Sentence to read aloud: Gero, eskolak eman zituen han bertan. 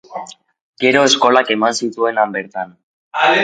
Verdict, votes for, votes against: accepted, 2, 0